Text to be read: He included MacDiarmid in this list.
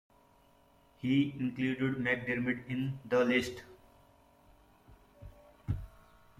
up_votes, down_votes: 1, 2